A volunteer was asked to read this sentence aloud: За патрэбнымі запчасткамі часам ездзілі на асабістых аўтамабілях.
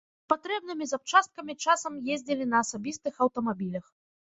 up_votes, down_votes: 0, 2